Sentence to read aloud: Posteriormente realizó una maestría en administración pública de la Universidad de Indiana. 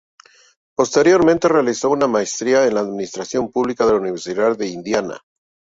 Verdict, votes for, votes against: rejected, 0, 2